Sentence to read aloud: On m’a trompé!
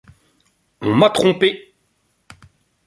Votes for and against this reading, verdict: 2, 0, accepted